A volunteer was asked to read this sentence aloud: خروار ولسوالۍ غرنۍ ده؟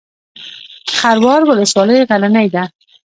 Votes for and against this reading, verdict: 2, 0, accepted